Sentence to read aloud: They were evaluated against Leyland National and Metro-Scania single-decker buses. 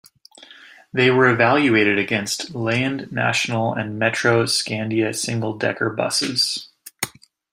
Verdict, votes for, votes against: rejected, 0, 2